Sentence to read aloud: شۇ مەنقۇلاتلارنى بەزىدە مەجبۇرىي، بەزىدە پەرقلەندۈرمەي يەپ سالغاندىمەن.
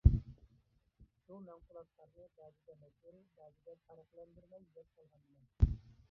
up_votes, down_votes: 0, 2